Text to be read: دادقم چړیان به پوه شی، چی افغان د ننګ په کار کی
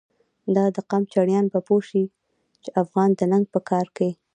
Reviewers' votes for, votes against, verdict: 1, 2, rejected